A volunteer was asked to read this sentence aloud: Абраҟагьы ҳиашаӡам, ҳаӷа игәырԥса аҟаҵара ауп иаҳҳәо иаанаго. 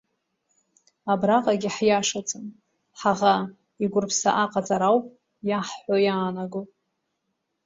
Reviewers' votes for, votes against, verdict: 2, 0, accepted